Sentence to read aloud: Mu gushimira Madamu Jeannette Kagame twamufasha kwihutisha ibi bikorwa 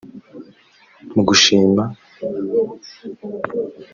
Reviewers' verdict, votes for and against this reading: rejected, 0, 2